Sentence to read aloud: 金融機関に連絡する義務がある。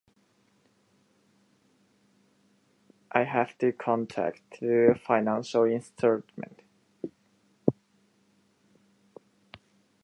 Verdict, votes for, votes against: rejected, 0, 2